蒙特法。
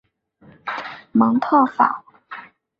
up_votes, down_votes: 4, 0